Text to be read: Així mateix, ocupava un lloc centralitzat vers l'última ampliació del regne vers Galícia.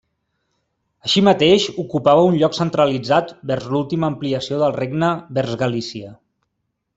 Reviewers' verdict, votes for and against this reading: accepted, 3, 0